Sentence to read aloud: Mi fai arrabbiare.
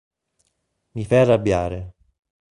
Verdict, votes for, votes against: accepted, 2, 0